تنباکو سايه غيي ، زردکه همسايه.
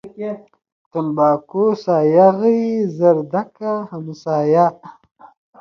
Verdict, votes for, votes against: accepted, 2, 0